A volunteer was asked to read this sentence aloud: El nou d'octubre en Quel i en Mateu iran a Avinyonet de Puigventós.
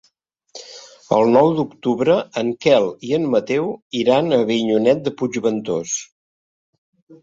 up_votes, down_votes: 2, 0